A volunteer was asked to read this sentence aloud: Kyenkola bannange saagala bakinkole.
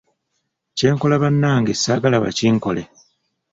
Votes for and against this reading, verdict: 2, 0, accepted